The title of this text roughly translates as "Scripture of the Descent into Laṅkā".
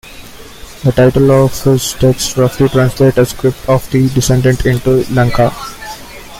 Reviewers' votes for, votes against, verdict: 0, 2, rejected